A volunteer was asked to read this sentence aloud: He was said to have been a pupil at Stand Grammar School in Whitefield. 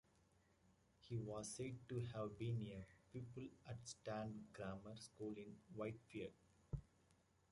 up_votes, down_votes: 2, 0